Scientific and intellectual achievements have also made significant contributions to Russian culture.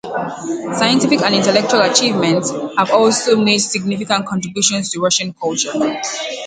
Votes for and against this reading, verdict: 2, 0, accepted